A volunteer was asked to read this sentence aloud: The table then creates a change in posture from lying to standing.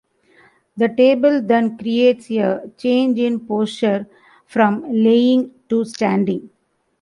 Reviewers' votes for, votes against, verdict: 2, 0, accepted